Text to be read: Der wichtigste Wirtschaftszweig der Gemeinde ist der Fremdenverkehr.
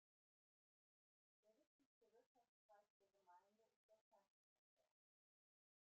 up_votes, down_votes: 0, 2